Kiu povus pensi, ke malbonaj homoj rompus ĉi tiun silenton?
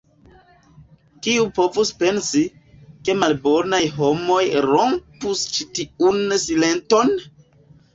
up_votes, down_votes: 2, 0